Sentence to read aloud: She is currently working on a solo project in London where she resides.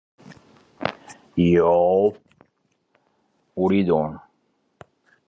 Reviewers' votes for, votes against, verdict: 0, 2, rejected